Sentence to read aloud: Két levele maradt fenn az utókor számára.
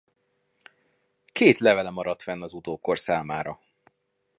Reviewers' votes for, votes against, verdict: 2, 0, accepted